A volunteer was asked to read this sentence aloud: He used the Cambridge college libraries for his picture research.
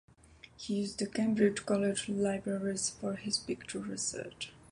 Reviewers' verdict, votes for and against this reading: accepted, 2, 0